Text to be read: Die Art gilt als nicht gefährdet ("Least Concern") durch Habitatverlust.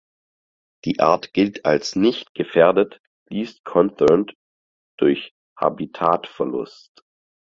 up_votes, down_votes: 0, 4